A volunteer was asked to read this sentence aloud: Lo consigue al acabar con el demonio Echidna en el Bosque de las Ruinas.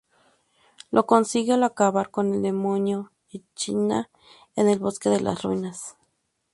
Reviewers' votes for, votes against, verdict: 0, 2, rejected